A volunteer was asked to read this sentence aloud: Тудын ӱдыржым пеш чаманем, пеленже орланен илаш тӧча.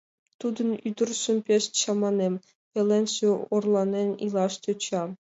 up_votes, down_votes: 2, 0